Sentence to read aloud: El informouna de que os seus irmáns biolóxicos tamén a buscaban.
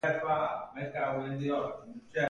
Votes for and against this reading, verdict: 0, 2, rejected